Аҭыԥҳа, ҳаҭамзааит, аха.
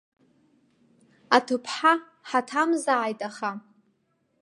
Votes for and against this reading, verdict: 3, 0, accepted